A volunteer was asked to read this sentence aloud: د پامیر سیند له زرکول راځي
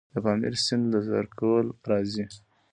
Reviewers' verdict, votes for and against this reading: rejected, 1, 3